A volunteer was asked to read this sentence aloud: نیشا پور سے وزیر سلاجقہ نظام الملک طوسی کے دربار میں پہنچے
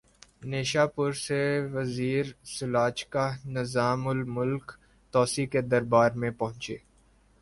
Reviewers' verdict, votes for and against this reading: accepted, 4, 0